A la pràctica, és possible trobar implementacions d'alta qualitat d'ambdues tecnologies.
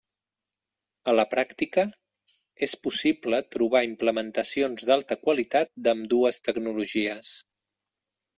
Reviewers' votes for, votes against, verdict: 2, 0, accepted